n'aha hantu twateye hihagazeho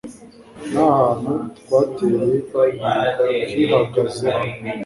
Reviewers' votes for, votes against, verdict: 1, 2, rejected